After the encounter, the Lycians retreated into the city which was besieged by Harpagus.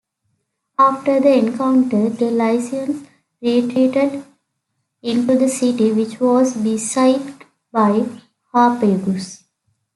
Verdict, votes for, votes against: accepted, 2, 0